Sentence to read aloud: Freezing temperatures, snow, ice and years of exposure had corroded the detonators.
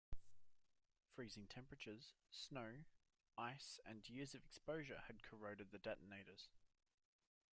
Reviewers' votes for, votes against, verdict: 1, 2, rejected